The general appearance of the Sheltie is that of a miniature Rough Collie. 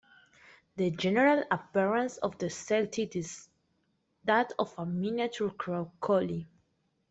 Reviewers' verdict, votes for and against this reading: rejected, 0, 2